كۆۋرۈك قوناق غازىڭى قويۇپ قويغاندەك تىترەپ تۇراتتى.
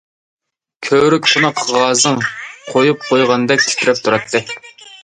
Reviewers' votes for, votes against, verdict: 0, 2, rejected